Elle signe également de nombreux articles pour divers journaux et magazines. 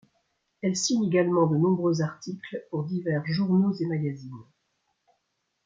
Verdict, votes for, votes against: accepted, 2, 0